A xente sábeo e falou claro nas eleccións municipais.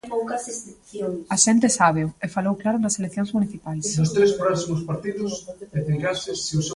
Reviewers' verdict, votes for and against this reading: rejected, 0, 2